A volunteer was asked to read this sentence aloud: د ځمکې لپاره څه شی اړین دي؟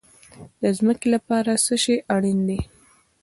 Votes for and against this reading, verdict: 1, 2, rejected